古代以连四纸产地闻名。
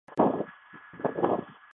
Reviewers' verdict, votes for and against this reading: rejected, 0, 4